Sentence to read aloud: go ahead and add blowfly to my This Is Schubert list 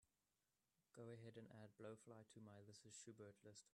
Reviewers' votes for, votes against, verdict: 2, 0, accepted